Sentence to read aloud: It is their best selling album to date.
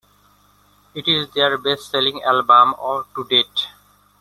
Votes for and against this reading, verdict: 0, 2, rejected